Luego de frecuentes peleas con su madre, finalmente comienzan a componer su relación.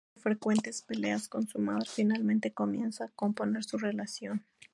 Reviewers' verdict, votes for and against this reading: accepted, 2, 0